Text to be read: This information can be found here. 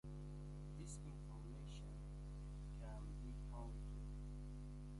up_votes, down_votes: 0, 2